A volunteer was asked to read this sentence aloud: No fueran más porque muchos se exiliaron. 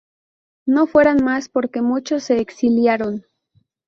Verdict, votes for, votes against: rejected, 2, 2